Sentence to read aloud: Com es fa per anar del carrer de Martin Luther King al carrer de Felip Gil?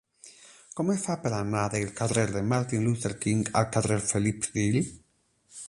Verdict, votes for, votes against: rejected, 0, 8